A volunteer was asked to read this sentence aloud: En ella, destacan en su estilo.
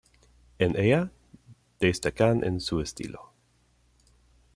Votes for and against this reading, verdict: 2, 0, accepted